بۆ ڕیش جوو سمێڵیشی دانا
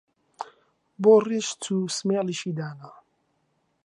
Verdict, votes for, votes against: rejected, 1, 2